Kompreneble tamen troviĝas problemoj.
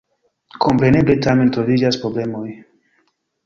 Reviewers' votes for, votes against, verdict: 1, 2, rejected